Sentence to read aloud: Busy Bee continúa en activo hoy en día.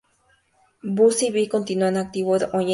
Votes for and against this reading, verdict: 0, 2, rejected